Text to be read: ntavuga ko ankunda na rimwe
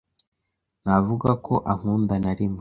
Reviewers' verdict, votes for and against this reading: accepted, 2, 0